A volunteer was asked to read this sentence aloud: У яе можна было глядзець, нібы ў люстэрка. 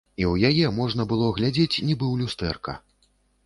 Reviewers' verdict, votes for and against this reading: rejected, 1, 2